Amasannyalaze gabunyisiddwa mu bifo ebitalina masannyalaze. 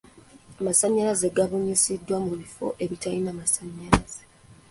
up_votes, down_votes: 2, 0